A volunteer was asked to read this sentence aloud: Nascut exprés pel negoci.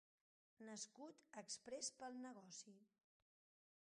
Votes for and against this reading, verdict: 0, 2, rejected